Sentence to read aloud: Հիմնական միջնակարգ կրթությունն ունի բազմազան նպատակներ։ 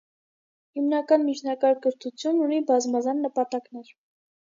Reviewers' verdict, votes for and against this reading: accepted, 2, 0